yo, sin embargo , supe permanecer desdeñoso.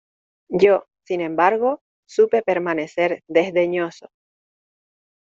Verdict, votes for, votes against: accepted, 2, 0